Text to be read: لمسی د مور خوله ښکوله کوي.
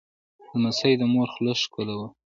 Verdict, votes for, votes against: rejected, 1, 2